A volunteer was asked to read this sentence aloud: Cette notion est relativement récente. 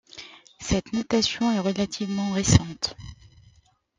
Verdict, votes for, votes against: rejected, 0, 2